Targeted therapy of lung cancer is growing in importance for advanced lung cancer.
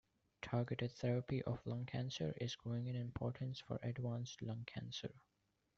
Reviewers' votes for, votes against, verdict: 1, 2, rejected